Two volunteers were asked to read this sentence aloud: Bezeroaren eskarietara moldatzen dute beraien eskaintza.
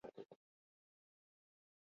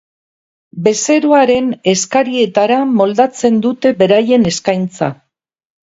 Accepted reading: second